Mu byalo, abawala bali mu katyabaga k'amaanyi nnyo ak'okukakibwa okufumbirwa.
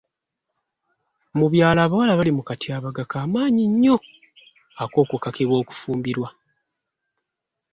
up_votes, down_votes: 0, 2